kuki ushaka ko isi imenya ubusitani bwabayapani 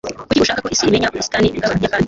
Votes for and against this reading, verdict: 1, 2, rejected